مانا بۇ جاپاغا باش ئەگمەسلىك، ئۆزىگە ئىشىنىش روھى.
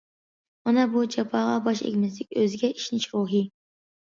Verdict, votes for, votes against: accepted, 2, 0